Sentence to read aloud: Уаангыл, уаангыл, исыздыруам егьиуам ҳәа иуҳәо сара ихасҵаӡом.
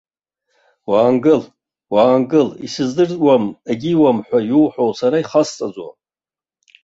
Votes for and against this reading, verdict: 0, 2, rejected